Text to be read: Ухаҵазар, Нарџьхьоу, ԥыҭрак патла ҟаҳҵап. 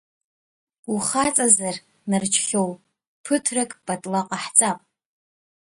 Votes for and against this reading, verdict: 0, 2, rejected